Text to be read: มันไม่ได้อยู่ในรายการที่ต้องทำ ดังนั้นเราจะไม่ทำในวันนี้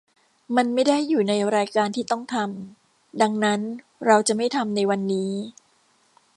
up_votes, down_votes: 2, 0